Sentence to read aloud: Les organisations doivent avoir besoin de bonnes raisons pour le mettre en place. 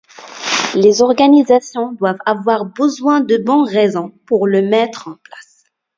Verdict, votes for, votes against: rejected, 0, 2